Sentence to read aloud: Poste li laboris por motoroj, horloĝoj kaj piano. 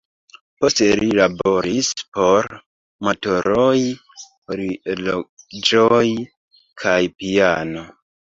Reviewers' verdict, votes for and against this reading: rejected, 0, 2